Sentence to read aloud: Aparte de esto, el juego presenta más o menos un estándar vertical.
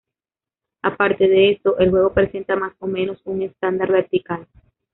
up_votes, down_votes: 0, 2